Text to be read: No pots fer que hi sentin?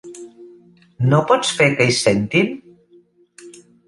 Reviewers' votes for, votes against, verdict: 2, 0, accepted